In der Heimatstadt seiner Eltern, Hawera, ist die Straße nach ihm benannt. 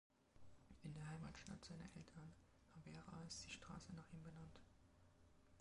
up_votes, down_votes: 1, 3